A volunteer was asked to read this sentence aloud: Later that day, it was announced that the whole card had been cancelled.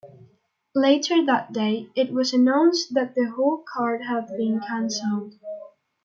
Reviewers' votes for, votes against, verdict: 1, 2, rejected